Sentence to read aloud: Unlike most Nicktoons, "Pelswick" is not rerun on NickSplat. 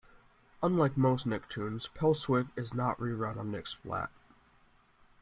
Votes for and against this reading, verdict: 2, 0, accepted